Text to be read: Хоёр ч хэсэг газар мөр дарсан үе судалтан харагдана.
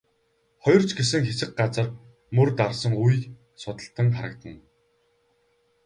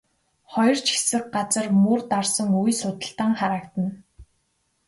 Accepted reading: second